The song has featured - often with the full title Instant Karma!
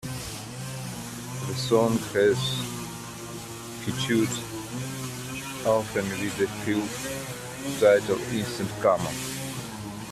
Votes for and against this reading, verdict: 2, 1, accepted